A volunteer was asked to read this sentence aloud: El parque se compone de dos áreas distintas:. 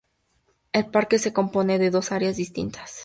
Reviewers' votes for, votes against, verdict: 4, 0, accepted